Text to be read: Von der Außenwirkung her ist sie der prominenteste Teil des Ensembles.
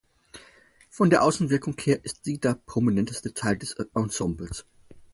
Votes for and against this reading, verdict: 2, 4, rejected